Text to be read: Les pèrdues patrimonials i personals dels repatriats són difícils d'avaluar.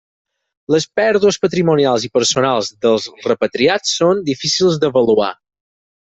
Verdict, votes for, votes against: accepted, 6, 0